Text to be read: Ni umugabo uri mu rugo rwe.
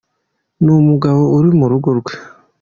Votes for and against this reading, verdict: 2, 0, accepted